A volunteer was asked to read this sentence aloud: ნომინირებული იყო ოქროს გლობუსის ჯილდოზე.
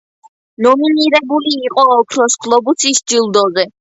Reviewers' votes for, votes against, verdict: 2, 0, accepted